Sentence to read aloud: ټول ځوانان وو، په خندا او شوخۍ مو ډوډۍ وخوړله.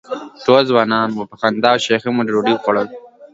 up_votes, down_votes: 0, 2